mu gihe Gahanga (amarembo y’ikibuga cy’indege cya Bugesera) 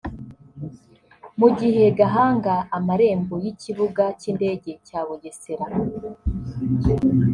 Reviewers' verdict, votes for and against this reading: rejected, 0, 2